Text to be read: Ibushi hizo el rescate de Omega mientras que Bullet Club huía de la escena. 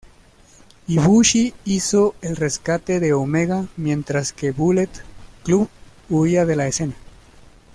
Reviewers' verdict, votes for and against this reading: rejected, 1, 2